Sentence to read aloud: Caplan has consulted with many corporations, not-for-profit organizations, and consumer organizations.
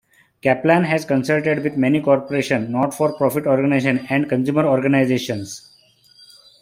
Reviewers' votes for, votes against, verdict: 2, 0, accepted